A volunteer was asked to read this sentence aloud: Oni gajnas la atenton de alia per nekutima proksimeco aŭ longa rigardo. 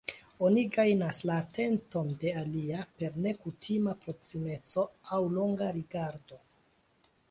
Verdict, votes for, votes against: accepted, 2, 1